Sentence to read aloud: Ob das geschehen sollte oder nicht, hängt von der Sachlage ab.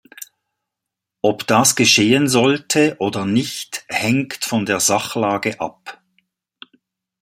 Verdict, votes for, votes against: accepted, 2, 0